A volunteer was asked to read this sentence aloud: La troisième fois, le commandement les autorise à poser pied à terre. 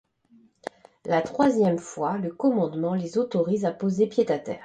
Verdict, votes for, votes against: accepted, 2, 0